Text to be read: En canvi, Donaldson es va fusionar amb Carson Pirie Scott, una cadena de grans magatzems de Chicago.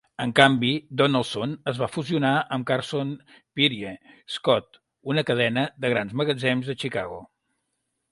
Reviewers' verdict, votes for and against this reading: rejected, 0, 2